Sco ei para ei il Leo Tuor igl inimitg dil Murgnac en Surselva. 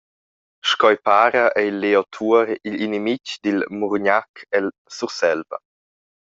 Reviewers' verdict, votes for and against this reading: rejected, 0, 2